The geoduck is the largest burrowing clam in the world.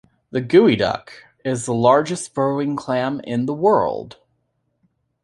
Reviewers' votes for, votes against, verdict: 1, 2, rejected